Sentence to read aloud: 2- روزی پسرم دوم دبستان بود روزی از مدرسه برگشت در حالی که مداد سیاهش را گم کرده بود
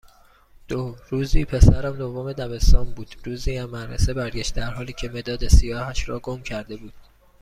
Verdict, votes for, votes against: rejected, 0, 2